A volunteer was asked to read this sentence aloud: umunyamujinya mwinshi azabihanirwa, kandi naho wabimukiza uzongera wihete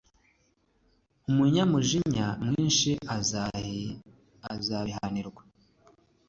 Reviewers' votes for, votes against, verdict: 1, 2, rejected